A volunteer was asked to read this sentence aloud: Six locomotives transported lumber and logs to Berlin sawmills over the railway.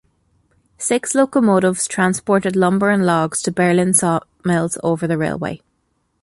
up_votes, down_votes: 2, 0